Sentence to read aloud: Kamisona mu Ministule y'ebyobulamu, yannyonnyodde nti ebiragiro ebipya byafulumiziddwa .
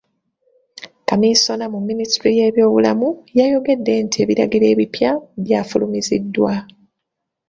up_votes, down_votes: 0, 2